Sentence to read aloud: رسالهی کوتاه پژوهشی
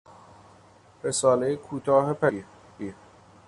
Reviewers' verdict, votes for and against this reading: rejected, 0, 2